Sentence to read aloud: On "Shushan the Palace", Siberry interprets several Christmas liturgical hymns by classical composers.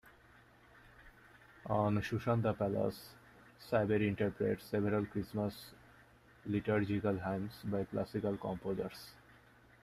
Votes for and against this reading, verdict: 0, 2, rejected